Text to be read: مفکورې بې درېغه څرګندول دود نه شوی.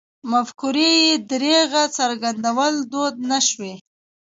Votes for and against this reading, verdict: 2, 0, accepted